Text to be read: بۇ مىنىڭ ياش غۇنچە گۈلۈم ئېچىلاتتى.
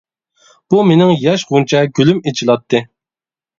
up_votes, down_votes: 2, 0